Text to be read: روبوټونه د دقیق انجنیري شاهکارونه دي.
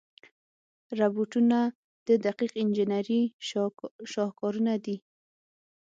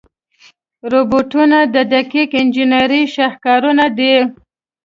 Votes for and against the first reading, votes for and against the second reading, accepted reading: 0, 6, 2, 0, second